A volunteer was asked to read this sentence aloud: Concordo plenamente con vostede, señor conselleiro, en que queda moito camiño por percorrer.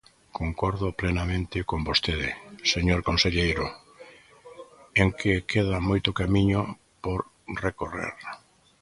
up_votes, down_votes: 0, 2